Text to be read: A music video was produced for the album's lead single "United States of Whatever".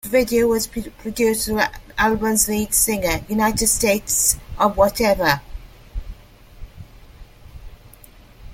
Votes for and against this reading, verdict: 0, 2, rejected